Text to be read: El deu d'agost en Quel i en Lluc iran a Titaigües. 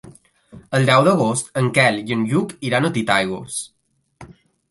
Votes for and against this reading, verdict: 2, 0, accepted